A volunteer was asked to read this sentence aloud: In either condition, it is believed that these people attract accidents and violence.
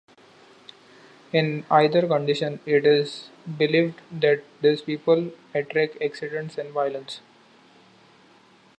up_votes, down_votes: 2, 0